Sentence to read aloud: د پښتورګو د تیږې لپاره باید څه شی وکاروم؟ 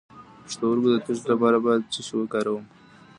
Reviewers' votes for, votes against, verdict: 1, 2, rejected